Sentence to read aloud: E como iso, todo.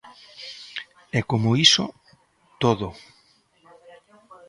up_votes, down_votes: 2, 0